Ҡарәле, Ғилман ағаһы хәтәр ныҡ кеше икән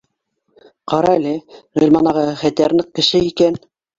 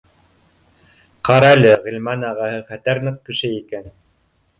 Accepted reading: first